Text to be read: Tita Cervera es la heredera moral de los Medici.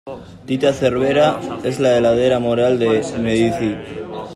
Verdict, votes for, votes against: rejected, 0, 2